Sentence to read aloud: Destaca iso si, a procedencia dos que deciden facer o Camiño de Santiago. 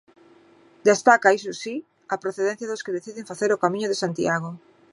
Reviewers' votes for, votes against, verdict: 2, 0, accepted